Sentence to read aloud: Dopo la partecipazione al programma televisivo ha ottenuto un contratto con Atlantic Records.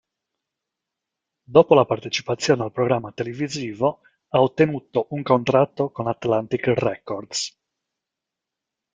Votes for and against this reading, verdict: 0, 2, rejected